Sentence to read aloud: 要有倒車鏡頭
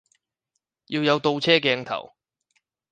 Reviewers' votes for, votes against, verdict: 6, 0, accepted